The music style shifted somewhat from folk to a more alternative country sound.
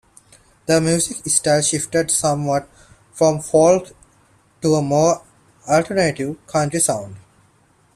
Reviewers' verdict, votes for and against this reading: rejected, 1, 2